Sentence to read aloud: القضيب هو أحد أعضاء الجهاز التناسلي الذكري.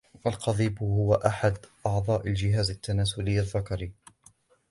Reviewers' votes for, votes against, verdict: 2, 0, accepted